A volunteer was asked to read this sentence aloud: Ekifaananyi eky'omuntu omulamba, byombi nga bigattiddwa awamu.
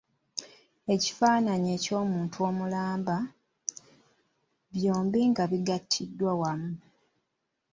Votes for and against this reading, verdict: 2, 1, accepted